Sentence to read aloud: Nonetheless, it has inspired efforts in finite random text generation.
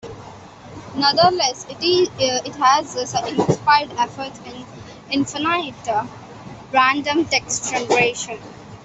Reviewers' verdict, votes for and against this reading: rejected, 0, 2